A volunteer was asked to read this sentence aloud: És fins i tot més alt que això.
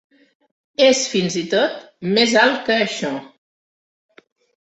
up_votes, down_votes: 6, 0